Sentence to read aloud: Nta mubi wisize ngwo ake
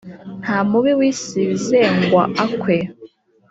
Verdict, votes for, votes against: rejected, 0, 2